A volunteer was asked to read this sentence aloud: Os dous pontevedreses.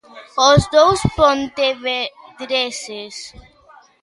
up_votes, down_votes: 0, 2